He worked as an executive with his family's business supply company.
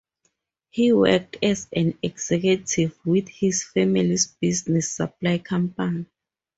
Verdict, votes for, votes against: rejected, 0, 2